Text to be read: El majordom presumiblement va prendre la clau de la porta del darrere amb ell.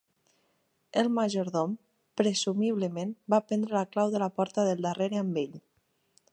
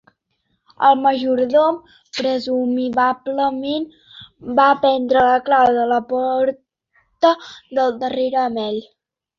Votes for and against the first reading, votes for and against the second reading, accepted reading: 3, 0, 1, 2, first